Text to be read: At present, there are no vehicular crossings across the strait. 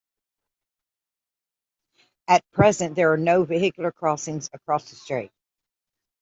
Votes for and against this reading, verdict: 2, 0, accepted